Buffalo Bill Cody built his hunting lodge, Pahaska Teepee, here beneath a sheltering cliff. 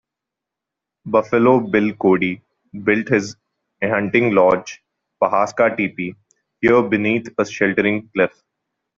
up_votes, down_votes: 2, 0